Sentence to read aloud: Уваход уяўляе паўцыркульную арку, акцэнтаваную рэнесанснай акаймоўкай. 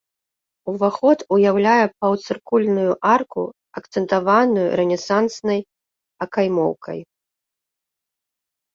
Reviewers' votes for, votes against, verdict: 1, 2, rejected